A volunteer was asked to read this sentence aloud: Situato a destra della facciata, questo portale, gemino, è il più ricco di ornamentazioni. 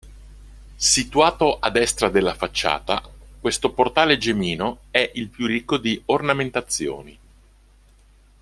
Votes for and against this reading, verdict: 1, 2, rejected